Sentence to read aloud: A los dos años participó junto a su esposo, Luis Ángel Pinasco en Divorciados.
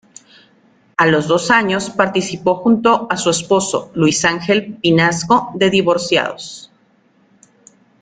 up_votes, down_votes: 0, 2